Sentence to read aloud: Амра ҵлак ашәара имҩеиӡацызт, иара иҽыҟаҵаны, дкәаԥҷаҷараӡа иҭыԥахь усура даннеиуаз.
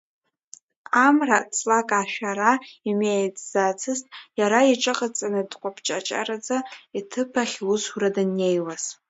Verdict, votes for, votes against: accepted, 3, 1